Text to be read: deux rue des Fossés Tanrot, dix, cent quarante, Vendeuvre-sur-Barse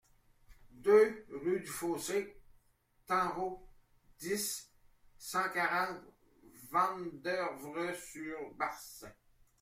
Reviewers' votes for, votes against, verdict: 1, 2, rejected